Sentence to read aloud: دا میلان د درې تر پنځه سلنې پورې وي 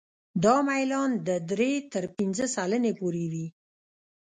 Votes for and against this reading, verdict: 1, 2, rejected